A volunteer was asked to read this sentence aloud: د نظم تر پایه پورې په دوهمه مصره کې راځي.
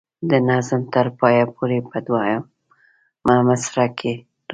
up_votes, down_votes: 0, 2